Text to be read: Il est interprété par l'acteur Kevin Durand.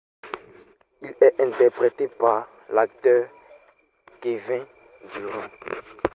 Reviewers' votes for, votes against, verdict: 2, 0, accepted